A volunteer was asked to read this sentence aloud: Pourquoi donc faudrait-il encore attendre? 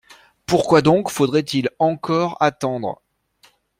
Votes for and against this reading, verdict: 2, 0, accepted